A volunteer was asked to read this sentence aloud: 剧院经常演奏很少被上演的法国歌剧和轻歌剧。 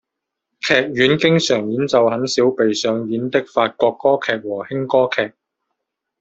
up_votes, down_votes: 1, 2